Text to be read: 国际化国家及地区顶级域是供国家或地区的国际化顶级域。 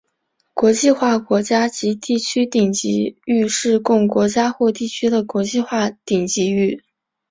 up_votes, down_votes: 2, 0